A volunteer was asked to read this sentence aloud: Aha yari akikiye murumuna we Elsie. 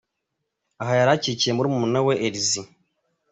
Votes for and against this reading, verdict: 2, 0, accepted